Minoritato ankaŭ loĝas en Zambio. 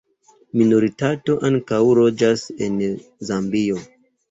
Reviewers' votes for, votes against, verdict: 2, 0, accepted